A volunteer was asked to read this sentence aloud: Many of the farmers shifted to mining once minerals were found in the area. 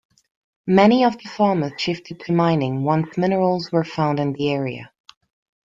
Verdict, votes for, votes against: rejected, 1, 2